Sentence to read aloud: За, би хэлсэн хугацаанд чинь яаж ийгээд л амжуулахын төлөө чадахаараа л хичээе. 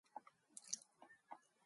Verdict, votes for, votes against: rejected, 0, 2